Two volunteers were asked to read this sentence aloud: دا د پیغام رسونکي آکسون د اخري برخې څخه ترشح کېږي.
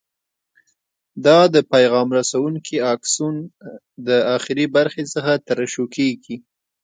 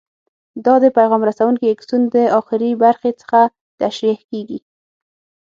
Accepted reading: first